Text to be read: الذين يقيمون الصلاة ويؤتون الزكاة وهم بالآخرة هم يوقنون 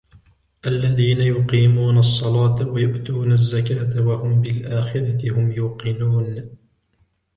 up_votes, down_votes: 2, 1